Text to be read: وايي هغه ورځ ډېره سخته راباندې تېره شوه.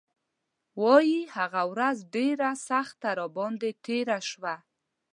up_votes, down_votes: 2, 0